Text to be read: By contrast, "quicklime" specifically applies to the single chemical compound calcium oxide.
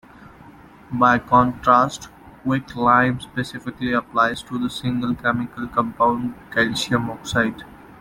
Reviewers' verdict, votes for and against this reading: accepted, 2, 0